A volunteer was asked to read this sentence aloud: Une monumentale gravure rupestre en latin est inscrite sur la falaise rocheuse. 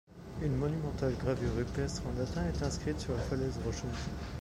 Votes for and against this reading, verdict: 1, 2, rejected